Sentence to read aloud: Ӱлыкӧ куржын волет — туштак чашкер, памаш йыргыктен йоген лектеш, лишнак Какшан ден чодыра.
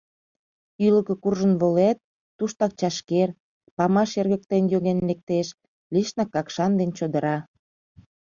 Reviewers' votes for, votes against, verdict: 2, 0, accepted